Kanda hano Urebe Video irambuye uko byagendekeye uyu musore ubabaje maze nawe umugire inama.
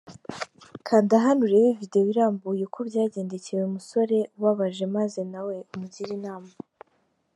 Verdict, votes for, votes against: accepted, 4, 0